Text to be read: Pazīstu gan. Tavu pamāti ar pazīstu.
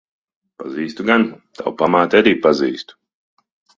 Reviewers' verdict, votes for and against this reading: rejected, 0, 2